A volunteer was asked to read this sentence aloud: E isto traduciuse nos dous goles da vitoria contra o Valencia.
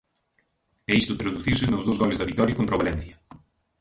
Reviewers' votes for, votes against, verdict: 1, 2, rejected